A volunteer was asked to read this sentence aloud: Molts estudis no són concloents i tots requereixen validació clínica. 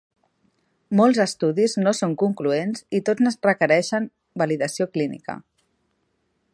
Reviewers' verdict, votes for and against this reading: rejected, 0, 2